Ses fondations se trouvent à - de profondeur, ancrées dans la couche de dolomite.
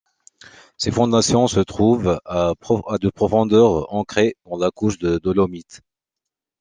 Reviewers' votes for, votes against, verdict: 0, 2, rejected